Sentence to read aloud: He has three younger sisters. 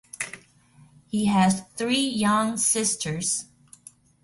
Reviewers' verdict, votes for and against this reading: rejected, 0, 2